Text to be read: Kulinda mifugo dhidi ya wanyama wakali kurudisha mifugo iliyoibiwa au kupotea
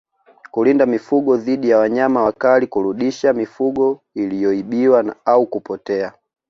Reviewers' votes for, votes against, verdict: 2, 0, accepted